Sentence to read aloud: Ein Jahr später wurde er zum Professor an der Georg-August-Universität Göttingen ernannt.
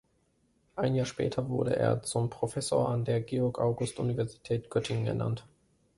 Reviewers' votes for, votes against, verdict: 2, 1, accepted